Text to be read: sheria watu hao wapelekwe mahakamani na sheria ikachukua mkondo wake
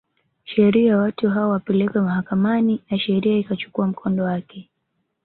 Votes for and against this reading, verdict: 5, 0, accepted